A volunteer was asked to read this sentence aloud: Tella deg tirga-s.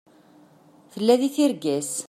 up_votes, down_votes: 2, 0